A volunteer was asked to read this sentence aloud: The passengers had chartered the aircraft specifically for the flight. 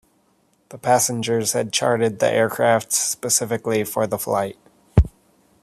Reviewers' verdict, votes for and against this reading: accepted, 2, 0